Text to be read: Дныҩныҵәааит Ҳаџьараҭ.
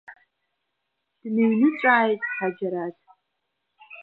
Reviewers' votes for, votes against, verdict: 1, 2, rejected